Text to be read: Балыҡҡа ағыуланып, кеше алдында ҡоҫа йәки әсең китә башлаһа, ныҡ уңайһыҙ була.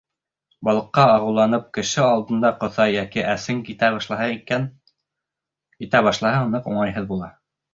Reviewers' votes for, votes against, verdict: 2, 1, accepted